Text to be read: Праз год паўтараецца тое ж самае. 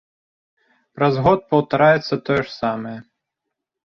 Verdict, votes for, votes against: accepted, 2, 0